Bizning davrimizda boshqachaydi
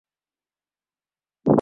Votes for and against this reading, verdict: 0, 2, rejected